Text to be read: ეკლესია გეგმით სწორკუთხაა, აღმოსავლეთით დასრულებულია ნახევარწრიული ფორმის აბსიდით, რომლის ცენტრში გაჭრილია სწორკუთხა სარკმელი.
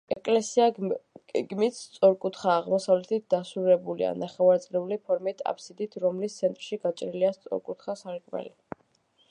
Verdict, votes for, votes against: rejected, 0, 2